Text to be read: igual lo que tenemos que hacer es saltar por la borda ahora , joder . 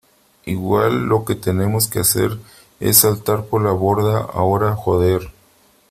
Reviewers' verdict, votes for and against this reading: accepted, 3, 0